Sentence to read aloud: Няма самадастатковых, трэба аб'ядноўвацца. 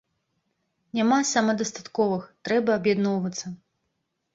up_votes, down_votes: 2, 1